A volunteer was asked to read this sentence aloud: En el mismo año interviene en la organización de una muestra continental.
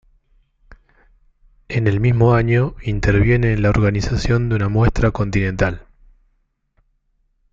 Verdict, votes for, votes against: accepted, 2, 0